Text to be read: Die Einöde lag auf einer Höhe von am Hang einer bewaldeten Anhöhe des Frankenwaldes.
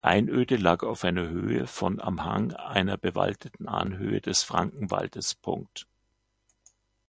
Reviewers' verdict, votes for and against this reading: rejected, 0, 2